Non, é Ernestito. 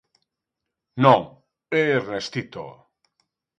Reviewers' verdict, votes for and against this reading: accepted, 2, 0